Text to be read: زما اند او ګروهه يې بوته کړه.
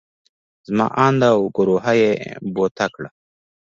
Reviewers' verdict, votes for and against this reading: accepted, 3, 1